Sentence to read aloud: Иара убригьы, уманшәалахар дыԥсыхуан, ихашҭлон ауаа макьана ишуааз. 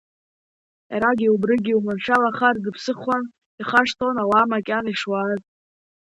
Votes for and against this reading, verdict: 2, 1, accepted